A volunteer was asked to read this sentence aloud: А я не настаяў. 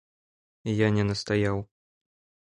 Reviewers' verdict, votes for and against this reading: rejected, 1, 2